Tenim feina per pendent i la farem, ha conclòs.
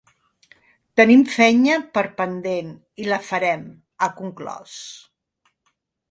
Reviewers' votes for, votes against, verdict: 0, 2, rejected